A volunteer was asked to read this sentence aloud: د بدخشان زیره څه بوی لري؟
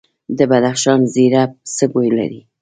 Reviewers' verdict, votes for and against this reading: rejected, 1, 2